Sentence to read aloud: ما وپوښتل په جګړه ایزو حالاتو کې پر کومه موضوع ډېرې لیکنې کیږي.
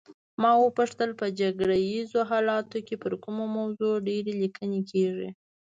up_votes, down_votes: 2, 0